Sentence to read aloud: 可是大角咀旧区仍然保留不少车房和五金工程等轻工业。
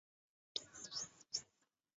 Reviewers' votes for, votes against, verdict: 0, 2, rejected